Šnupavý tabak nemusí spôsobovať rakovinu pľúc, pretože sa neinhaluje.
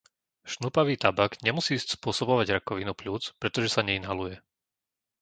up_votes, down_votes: 0, 2